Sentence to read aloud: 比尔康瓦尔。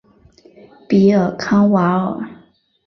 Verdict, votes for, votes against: accepted, 3, 0